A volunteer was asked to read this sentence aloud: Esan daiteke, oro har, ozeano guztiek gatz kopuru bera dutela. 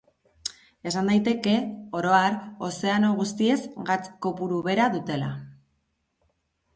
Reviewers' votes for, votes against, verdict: 0, 2, rejected